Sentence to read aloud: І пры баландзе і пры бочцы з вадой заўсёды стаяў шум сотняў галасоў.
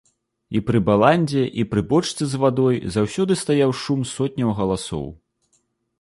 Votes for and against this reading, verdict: 2, 0, accepted